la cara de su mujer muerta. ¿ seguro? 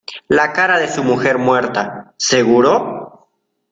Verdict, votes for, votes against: accepted, 2, 0